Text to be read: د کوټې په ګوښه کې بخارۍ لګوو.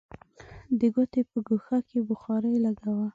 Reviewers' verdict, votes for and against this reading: rejected, 1, 2